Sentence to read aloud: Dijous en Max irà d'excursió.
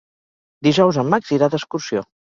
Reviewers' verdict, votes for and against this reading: accepted, 2, 0